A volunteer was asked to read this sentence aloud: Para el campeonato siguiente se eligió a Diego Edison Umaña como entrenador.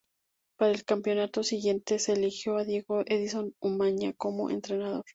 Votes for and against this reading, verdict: 0, 4, rejected